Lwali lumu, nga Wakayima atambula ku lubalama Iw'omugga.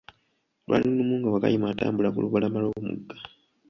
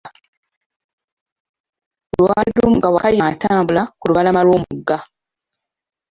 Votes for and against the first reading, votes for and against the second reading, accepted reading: 0, 2, 2, 1, second